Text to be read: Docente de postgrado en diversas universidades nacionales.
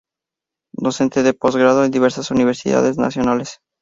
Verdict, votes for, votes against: accepted, 2, 0